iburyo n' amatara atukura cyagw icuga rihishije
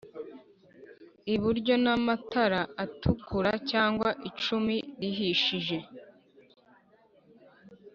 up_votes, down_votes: 1, 2